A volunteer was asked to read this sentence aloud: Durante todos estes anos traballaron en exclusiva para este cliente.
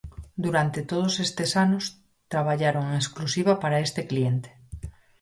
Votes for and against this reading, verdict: 4, 0, accepted